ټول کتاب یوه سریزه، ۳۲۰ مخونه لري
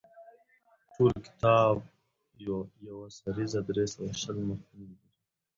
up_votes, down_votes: 0, 2